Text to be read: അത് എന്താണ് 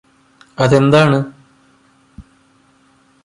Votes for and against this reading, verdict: 2, 0, accepted